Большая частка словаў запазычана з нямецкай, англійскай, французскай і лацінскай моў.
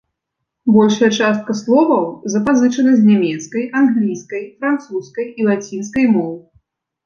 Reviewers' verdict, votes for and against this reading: accepted, 2, 0